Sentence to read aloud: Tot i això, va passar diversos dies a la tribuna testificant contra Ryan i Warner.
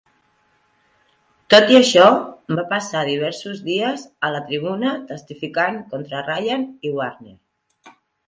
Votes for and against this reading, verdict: 4, 1, accepted